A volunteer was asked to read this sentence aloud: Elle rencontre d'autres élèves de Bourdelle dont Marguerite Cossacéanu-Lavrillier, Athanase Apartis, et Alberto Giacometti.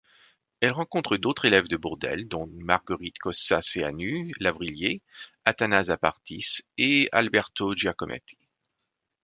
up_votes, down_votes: 2, 0